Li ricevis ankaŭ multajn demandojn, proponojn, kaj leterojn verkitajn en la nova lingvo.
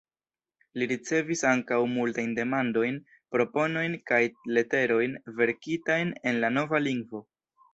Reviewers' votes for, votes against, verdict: 1, 2, rejected